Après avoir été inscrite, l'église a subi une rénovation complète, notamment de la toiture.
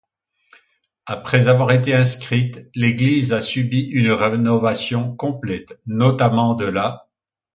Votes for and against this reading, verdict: 1, 2, rejected